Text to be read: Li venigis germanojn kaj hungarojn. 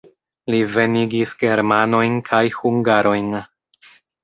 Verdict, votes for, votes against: rejected, 0, 3